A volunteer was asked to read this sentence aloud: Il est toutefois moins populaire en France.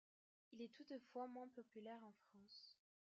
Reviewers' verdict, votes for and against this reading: accepted, 2, 1